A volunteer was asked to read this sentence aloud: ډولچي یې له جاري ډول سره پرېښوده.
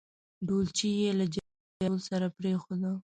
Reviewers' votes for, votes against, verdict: 0, 2, rejected